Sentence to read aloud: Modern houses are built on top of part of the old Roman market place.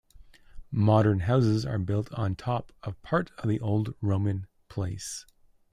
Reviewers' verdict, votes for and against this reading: rejected, 0, 2